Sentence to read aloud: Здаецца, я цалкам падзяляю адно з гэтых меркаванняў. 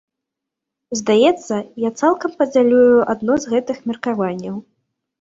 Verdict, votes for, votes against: rejected, 0, 2